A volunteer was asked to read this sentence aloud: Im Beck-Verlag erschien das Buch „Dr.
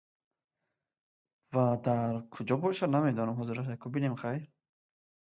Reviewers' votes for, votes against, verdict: 0, 2, rejected